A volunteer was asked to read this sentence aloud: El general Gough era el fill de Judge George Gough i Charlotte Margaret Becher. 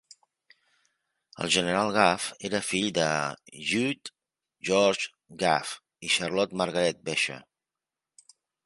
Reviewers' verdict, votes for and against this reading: rejected, 0, 2